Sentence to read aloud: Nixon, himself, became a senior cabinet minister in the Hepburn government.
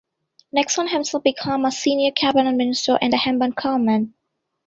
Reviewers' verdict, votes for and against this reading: rejected, 1, 2